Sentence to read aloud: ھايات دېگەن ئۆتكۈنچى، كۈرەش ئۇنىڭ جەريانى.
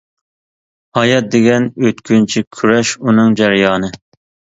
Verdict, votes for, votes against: accepted, 2, 0